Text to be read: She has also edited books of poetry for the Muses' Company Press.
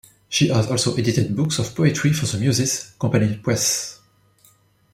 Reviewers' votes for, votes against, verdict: 2, 0, accepted